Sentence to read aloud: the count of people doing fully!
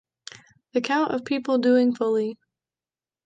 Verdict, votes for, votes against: accepted, 3, 0